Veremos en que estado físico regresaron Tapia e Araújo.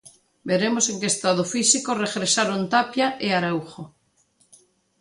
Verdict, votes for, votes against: accepted, 2, 0